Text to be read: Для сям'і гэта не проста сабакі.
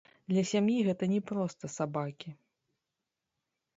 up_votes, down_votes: 0, 2